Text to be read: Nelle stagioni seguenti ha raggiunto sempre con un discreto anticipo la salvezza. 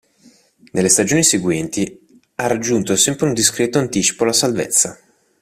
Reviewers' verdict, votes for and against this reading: rejected, 2, 4